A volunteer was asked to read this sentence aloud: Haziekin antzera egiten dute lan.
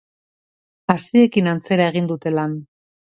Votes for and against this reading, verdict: 0, 2, rejected